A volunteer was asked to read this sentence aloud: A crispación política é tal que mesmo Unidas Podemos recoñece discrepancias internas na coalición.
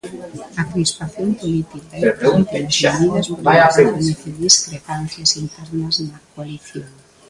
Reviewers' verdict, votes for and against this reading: rejected, 0, 2